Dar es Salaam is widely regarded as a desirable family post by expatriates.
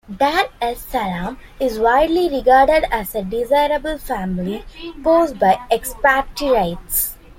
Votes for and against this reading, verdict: 2, 1, accepted